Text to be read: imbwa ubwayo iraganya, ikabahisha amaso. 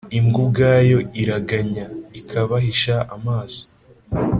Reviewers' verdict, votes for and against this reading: accepted, 2, 0